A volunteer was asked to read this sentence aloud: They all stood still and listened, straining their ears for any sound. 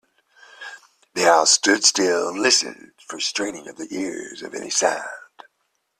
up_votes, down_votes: 0, 2